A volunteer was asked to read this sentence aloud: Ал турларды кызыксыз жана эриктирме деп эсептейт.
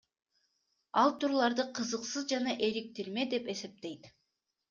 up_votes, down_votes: 2, 0